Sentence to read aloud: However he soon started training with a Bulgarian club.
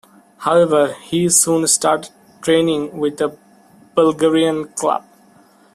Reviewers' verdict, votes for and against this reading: rejected, 0, 2